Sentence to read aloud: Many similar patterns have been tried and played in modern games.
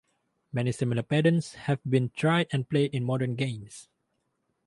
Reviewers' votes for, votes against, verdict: 6, 0, accepted